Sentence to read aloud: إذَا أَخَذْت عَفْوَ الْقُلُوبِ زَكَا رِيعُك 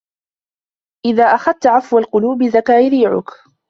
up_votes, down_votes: 1, 2